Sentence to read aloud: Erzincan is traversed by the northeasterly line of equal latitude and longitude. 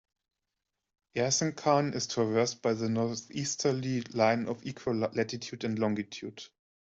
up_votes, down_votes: 2, 1